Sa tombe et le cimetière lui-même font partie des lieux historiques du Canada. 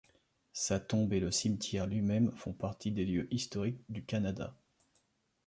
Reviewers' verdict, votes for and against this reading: rejected, 0, 2